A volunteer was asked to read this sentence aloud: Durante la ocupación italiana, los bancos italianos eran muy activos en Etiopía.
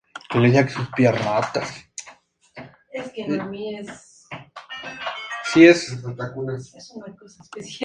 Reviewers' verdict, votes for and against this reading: rejected, 0, 4